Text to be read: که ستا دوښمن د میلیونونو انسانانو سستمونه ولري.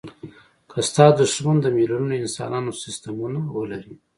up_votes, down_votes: 2, 1